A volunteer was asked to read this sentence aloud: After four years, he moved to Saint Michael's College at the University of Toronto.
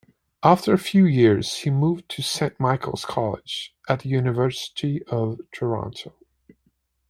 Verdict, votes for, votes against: rejected, 0, 2